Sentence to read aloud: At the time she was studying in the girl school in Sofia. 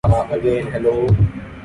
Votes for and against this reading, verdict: 0, 2, rejected